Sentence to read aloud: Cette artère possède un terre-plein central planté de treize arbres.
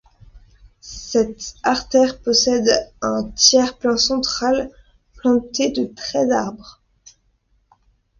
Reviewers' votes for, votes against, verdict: 0, 2, rejected